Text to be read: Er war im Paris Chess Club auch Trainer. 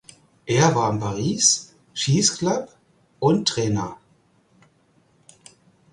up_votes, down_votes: 0, 4